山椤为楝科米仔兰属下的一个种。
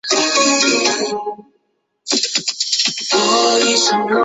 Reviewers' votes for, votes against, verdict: 0, 3, rejected